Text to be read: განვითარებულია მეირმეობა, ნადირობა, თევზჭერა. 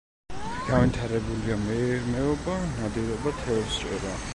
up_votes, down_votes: 1, 2